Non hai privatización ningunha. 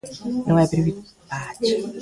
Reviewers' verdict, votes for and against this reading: rejected, 0, 2